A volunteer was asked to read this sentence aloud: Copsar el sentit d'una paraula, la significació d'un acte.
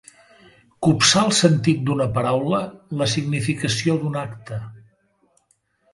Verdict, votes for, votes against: accepted, 3, 0